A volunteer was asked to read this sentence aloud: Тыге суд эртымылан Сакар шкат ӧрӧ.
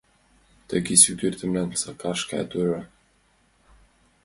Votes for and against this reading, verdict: 0, 2, rejected